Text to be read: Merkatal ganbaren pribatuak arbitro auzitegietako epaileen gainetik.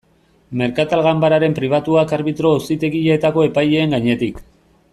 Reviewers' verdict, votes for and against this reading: rejected, 0, 2